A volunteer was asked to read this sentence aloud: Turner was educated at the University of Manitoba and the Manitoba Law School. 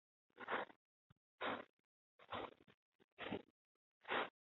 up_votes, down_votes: 0, 2